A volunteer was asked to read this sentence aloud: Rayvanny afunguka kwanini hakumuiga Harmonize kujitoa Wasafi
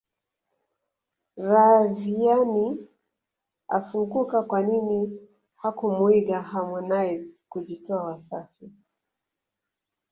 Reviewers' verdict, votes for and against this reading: rejected, 0, 2